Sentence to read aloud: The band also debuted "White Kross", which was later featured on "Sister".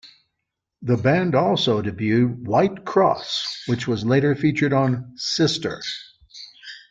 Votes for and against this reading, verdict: 2, 1, accepted